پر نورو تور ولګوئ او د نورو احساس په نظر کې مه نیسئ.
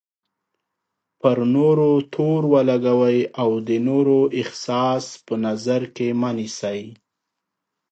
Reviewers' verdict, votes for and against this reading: accepted, 2, 1